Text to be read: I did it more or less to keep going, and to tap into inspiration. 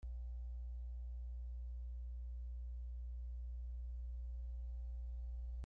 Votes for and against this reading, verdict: 0, 2, rejected